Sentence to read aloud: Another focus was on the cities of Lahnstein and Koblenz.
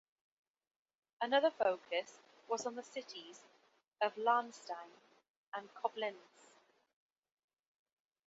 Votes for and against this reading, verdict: 2, 1, accepted